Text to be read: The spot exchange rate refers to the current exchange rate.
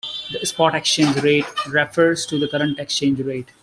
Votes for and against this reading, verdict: 0, 2, rejected